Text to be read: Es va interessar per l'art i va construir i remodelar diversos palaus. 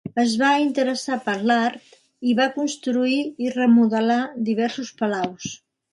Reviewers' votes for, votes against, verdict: 3, 0, accepted